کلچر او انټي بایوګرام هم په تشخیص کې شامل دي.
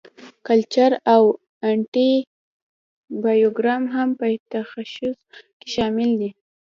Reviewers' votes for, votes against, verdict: 0, 3, rejected